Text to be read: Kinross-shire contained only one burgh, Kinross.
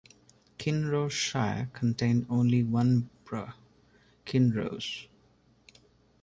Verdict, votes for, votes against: rejected, 1, 2